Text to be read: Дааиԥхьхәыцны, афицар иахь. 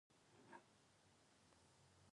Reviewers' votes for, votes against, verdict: 0, 2, rejected